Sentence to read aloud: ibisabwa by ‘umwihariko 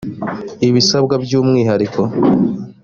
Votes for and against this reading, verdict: 3, 0, accepted